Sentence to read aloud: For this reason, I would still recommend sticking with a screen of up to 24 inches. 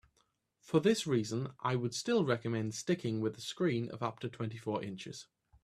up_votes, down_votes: 0, 2